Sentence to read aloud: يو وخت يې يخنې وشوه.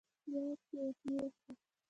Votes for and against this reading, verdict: 0, 2, rejected